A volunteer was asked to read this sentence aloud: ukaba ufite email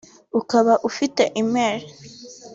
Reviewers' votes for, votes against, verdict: 2, 1, accepted